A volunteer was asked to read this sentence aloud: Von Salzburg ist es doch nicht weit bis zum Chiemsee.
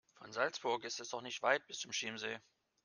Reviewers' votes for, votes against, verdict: 0, 2, rejected